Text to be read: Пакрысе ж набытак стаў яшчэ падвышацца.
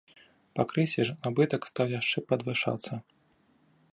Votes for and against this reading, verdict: 0, 2, rejected